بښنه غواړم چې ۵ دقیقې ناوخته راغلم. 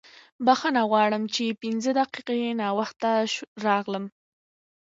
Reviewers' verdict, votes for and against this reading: rejected, 0, 2